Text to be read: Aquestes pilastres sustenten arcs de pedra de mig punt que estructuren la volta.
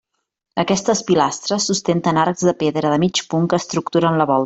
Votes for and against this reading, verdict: 0, 2, rejected